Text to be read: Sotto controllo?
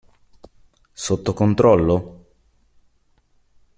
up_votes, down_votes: 2, 0